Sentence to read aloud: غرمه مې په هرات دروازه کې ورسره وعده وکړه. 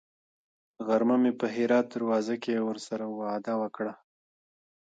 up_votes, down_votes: 1, 2